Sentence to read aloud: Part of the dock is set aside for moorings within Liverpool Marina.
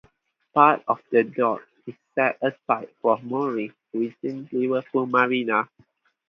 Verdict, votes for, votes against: accepted, 2, 0